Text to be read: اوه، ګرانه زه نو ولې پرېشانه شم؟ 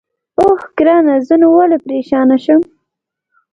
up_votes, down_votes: 2, 0